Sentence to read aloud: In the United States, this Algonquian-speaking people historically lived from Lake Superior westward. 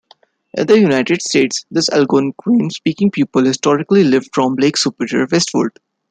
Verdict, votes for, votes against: accepted, 2, 0